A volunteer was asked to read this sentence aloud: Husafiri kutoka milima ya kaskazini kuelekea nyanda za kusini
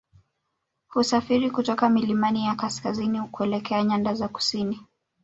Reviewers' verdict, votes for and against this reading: rejected, 0, 2